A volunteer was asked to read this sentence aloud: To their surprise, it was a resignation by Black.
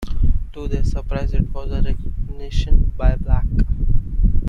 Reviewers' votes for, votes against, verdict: 0, 2, rejected